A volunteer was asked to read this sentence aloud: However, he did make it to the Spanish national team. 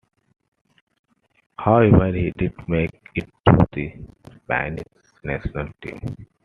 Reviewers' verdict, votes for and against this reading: accepted, 2, 1